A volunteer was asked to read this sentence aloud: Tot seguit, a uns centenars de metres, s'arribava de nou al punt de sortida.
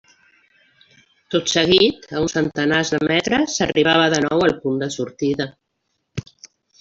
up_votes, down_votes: 3, 0